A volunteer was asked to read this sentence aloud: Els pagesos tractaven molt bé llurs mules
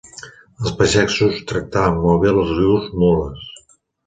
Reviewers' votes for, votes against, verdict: 0, 2, rejected